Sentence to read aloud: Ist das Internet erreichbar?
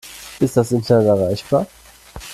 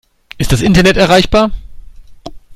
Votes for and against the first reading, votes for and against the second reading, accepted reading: 1, 2, 2, 0, second